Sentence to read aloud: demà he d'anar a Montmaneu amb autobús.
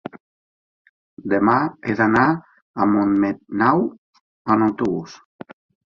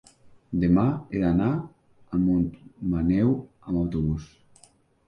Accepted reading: second